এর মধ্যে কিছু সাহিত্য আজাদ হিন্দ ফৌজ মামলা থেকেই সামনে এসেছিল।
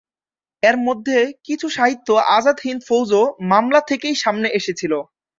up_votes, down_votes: 2, 0